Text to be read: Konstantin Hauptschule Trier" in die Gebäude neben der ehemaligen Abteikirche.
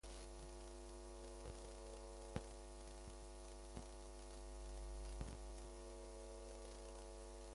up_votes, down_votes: 0, 2